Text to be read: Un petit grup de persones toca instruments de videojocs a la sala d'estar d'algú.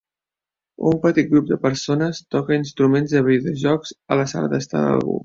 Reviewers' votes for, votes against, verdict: 3, 0, accepted